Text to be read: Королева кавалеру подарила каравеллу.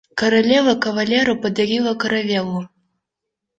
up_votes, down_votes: 1, 2